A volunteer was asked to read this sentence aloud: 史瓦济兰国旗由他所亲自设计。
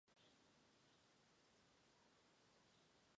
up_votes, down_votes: 0, 2